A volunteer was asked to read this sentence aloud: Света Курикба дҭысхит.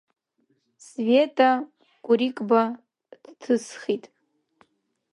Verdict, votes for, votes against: rejected, 0, 2